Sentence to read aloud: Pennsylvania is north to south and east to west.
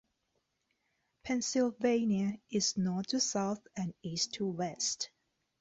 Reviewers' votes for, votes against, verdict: 2, 0, accepted